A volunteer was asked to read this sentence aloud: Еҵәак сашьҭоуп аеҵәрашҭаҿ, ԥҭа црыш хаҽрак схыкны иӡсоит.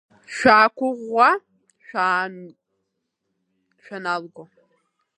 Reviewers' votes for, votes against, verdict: 0, 2, rejected